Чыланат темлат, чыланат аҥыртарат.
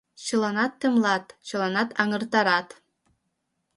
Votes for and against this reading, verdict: 3, 0, accepted